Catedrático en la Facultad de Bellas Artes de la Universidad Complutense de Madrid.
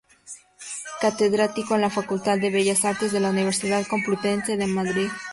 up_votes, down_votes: 2, 2